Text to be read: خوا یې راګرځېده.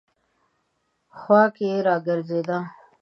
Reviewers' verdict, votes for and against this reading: rejected, 1, 2